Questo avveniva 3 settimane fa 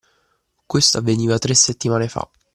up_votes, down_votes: 0, 2